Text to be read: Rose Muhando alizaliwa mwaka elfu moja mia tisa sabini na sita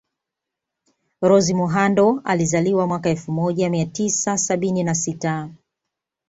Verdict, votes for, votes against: accepted, 2, 0